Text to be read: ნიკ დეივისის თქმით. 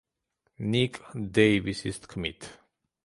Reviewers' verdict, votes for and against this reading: accepted, 2, 0